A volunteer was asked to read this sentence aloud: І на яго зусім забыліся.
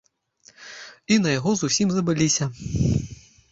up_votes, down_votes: 1, 2